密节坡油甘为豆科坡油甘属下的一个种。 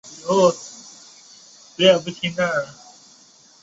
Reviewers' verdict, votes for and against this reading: rejected, 0, 2